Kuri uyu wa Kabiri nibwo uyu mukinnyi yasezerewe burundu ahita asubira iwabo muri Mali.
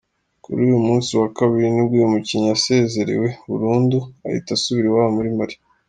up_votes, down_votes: 1, 3